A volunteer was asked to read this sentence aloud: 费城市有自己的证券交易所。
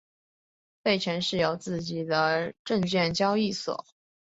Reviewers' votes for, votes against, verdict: 4, 0, accepted